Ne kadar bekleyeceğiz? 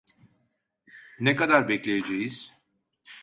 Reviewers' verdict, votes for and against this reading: accepted, 2, 0